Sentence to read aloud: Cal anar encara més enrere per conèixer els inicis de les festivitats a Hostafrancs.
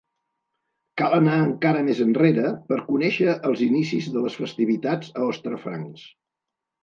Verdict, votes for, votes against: rejected, 1, 2